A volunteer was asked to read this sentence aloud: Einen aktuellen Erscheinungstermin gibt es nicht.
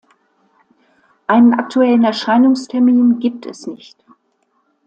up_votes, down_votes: 2, 0